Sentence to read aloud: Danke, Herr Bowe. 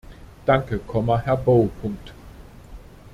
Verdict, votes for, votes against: rejected, 0, 2